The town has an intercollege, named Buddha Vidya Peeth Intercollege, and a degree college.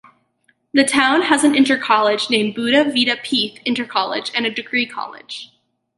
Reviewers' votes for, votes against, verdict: 4, 0, accepted